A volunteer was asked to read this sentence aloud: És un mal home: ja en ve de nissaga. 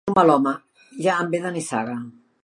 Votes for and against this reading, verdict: 0, 2, rejected